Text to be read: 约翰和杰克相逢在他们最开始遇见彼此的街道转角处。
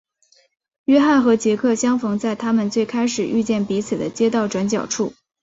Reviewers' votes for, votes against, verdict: 3, 0, accepted